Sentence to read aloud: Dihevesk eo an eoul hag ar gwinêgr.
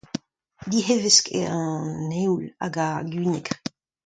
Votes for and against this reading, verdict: 2, 0, accepted